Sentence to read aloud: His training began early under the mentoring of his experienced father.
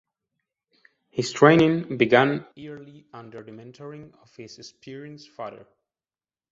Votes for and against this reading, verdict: 1, 2, rejected